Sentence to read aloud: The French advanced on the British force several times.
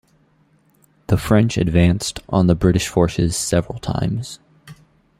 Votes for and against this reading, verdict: 2, 1, accepted